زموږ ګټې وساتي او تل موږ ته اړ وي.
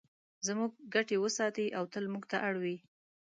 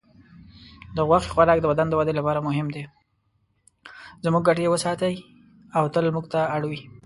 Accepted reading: first